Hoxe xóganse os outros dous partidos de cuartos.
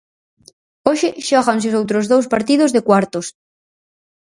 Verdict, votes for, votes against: rejected, 2, 4